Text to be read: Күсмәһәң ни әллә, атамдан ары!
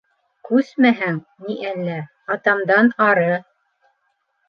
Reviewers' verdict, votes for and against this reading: accepted, 2, 0